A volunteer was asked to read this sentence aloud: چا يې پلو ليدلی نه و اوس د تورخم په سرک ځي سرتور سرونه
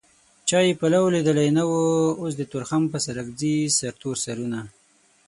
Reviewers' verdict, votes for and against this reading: accepted, 12, 0